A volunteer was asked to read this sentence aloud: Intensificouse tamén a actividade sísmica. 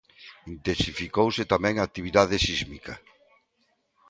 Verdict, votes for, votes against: accepted, 2, 0